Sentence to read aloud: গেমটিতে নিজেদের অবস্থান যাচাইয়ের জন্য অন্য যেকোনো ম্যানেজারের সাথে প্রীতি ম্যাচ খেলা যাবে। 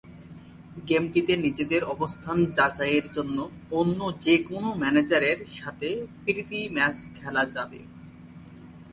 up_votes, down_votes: 2, 0